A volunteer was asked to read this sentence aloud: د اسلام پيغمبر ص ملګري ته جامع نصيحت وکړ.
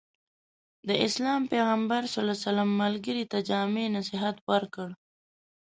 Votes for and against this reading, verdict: 0, 2, rejected